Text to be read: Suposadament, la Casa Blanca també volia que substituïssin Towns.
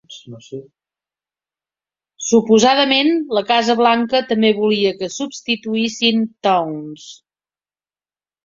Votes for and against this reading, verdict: 1, 2, rejected